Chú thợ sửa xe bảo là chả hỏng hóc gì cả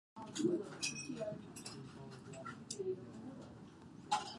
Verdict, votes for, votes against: rejected, 0, 2